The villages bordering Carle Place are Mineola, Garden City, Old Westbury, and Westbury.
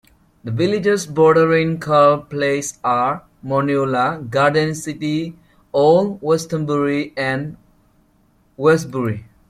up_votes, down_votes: 0, 2